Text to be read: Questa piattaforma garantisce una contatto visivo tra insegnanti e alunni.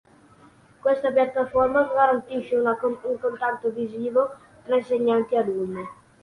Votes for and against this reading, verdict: 0, 3, rejected